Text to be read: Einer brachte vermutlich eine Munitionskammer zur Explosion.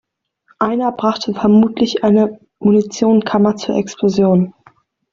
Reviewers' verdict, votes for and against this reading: rejected, 1, 2